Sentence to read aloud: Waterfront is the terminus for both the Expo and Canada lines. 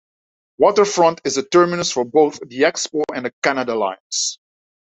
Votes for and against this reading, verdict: 1, 2, rejected